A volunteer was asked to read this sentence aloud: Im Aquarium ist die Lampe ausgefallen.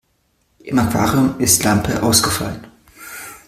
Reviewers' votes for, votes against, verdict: 0, 2, rejected